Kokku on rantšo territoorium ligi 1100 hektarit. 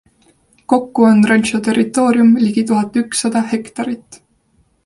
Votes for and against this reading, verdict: 0, 2, rejected